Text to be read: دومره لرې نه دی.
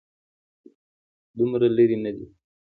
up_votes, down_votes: 2, 1